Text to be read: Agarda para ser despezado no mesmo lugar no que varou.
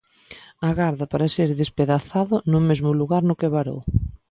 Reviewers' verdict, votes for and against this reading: rejected, 0, 2